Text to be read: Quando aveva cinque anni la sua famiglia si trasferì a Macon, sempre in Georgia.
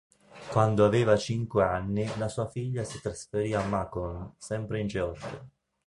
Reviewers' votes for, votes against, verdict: 0, 2, rejected